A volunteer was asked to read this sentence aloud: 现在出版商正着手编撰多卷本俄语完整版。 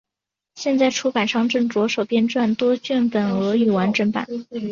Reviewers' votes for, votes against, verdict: 3, 1, accepted